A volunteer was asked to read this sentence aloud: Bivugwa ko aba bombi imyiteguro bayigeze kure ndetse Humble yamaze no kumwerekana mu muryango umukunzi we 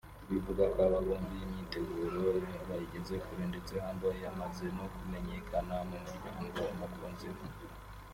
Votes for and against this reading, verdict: 1, 2, rejected